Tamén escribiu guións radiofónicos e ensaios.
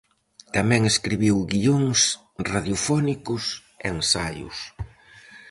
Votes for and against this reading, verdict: 4, 0, accepted